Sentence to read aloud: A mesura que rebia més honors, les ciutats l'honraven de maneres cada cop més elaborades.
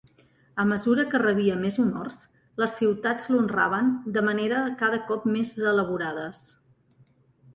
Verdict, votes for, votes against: rejected, 2, 3